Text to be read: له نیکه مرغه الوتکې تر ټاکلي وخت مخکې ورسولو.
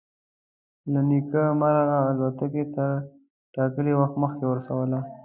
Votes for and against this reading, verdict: 2, 1, accepted